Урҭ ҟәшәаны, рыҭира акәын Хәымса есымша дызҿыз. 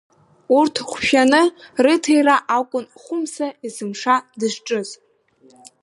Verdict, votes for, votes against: accepted, 3, 0